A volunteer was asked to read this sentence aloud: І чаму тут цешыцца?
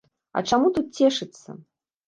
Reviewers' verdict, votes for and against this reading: rejected, 2, 3